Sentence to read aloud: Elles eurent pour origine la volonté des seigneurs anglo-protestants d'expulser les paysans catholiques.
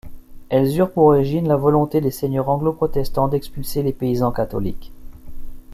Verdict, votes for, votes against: accepted, 2, 0